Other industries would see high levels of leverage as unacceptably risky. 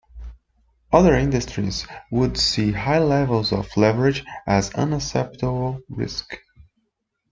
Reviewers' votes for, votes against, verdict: 0, 2, rejected